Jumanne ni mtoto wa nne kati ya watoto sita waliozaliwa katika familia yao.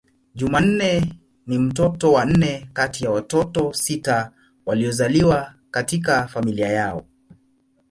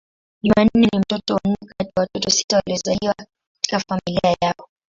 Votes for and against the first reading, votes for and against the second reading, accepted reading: 2, 0, 5, 8, first